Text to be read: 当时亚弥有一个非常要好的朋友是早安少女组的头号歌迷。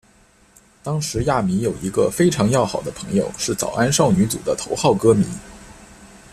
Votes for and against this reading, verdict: 2, 0, accepted